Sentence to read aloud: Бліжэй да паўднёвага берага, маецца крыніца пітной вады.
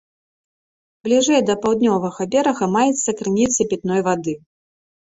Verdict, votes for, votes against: accepted, 2, 0